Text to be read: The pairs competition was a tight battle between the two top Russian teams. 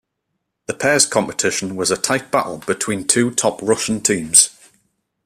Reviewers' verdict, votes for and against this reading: rejected, 0, 2